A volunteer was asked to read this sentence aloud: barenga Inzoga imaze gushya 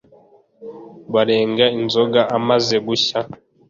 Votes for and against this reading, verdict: 1, 2, rejected